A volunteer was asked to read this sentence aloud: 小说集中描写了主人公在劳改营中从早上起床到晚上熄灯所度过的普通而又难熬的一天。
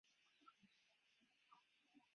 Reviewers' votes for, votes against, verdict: 0, 3, rejected